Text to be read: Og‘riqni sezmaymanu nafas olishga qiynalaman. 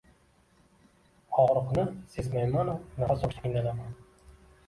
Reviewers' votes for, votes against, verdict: 2, 0, accepted